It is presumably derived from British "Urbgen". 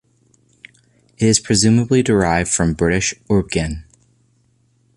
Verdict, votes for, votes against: rejected, 1, 2